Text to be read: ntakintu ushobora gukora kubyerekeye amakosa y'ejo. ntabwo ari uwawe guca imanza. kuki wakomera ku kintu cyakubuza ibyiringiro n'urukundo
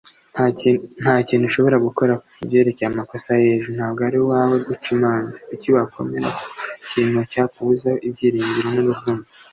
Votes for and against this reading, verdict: 1, 2, rejected